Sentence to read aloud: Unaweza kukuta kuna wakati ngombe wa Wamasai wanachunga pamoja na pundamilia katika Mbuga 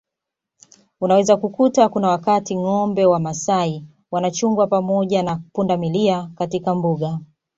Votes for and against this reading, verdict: 2, 0, accepted